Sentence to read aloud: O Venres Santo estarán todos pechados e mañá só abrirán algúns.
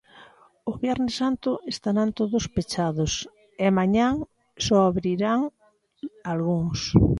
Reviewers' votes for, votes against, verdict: 0, 2, rejected